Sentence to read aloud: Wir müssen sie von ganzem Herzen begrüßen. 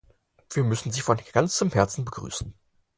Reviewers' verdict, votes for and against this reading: accepted, 4, 0